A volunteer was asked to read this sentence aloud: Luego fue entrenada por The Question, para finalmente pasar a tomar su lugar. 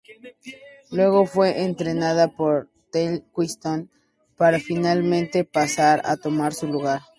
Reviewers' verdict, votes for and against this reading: rejected, 0, 2